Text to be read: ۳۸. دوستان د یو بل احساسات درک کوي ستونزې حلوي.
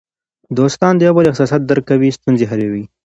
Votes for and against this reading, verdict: 0, 2, rejected